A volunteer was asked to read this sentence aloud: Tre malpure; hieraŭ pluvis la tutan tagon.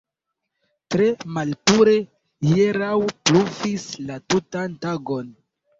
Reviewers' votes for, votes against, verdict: 1, 2, rejected